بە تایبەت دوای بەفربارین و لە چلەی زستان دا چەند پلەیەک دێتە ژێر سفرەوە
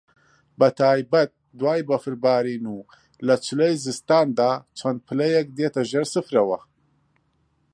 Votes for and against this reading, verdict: 2, 0, accepted